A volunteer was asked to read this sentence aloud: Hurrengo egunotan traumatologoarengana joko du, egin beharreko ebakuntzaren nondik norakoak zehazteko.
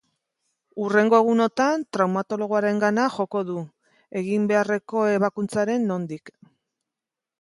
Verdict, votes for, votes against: rejected, 0, 3